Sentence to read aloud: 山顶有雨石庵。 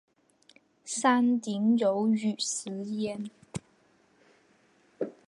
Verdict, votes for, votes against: rejected, 0, 2